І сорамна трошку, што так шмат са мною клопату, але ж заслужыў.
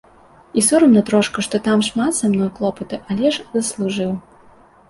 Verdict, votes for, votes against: rejected, 1, 2